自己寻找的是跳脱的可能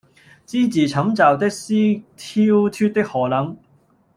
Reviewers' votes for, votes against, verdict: 0, 2, rejected